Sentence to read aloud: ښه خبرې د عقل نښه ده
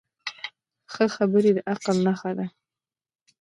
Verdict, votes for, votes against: rejected, 0, 2